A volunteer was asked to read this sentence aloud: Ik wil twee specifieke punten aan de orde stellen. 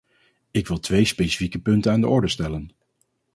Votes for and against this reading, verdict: 4, 0, accepted